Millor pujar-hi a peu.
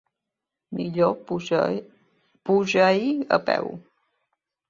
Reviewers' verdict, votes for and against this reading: rejected, 0, 2